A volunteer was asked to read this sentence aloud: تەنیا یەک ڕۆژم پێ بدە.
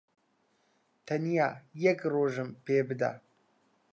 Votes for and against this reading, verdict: 2, 0, accepted